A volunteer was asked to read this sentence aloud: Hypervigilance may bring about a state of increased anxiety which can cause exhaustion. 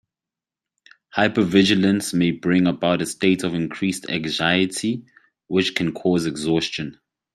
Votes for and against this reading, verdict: 2, 0, accepted